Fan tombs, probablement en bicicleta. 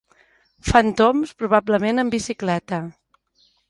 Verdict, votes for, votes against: accepted, 2, 0